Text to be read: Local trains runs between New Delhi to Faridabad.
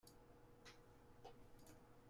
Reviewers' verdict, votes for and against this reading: rejected, 0, 2